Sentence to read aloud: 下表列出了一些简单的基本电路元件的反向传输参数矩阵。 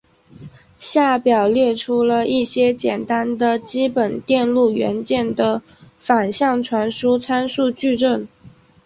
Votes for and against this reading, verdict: 2, 0, accepted